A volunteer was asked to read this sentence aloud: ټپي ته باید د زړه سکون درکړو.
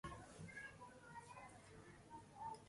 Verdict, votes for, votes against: rejected, 0, 2